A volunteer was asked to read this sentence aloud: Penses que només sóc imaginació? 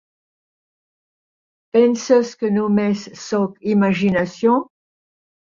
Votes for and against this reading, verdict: 6, 0, accepted